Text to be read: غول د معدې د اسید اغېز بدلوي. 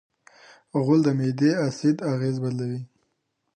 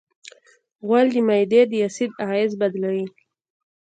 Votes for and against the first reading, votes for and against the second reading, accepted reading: 0, 2, 2, 0, second